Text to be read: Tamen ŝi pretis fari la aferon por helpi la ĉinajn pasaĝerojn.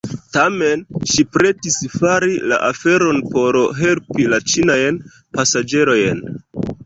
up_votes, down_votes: 1, 2